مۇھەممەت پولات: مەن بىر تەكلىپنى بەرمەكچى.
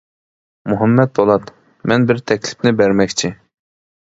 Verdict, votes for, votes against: accepted, 2, 0